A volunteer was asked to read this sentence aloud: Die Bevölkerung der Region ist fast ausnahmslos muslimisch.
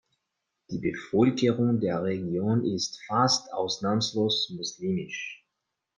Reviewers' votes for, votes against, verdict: 0, 2, rejected